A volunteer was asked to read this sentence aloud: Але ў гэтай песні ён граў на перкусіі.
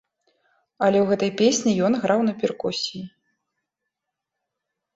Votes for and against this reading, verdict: 2, 0, accepted